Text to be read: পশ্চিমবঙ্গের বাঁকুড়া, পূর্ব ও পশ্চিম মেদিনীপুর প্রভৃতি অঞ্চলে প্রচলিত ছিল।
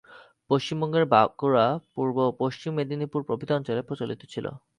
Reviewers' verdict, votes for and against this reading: accepted, 6, 1